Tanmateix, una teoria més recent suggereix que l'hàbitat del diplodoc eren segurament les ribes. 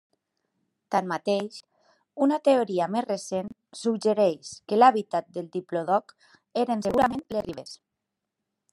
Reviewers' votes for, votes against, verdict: 1, 2, rejected